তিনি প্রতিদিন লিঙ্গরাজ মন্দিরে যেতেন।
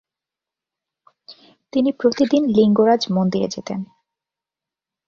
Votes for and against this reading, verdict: 21, 0, accepted